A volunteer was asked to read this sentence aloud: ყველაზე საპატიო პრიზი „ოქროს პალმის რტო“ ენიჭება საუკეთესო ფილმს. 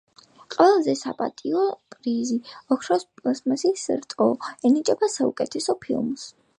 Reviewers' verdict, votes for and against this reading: rejected, 0, 2